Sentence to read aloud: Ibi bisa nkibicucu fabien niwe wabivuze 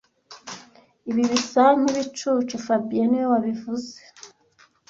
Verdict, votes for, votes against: accepted, 2, 0